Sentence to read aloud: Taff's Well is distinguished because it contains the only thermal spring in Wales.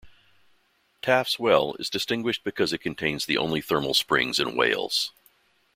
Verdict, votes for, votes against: rejected, 0, 2